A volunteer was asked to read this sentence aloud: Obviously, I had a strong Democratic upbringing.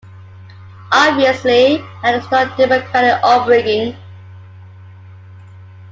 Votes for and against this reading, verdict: 0, 2, rejected